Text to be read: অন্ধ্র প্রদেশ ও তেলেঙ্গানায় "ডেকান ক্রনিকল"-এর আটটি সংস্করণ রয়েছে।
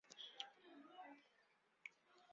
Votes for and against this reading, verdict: 0, 2, rejected